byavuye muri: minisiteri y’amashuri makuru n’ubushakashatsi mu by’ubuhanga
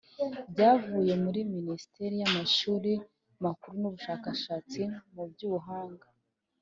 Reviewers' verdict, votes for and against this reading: accepted, 3, 0